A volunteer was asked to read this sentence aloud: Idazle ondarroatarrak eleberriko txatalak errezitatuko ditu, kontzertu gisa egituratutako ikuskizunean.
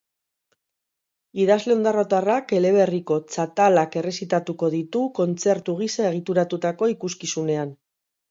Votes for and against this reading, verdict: 1, 2, rejected